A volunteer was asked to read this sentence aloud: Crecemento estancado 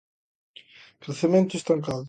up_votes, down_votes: 2, 0